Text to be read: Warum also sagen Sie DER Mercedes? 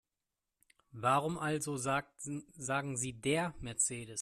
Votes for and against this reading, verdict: 0, 2, rejected